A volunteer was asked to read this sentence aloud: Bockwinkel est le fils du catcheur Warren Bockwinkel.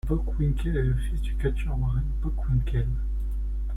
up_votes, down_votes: 0, 2